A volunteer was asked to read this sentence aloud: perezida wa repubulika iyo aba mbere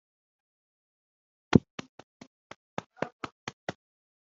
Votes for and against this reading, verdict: 1, 2, rejected